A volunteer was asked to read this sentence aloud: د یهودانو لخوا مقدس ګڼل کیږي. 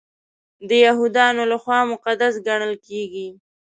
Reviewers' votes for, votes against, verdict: 2, 0, accepted